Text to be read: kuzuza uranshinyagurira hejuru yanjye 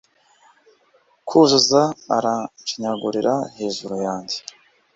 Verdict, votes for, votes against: rejected, 1, 2